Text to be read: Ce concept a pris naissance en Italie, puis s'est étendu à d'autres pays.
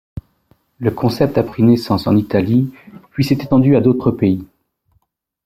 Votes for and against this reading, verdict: 0, 2, rejected